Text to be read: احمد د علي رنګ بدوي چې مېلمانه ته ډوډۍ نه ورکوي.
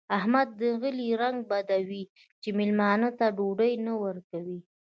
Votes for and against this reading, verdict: 0, 2, rejected